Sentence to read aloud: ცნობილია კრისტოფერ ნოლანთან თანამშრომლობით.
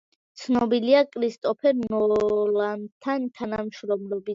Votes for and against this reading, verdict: 1, 2, rejected